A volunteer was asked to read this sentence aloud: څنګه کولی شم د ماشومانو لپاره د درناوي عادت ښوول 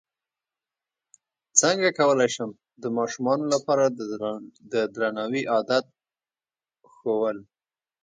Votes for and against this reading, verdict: 0, 2, rejected